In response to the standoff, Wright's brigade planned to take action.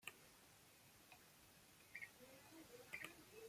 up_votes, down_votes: 1, 2